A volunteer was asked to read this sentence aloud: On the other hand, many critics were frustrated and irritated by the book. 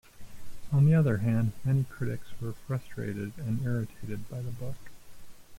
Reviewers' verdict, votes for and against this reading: rejected, 0, 2